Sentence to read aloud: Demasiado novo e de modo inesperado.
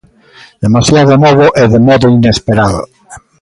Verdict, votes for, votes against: rejected, 1, 2